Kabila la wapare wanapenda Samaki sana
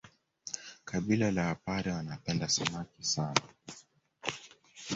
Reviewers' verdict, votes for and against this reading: accepted, 2, 1